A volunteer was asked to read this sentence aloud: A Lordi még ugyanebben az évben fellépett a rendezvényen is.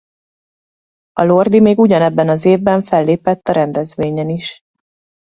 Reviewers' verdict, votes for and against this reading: accepted, 2, 0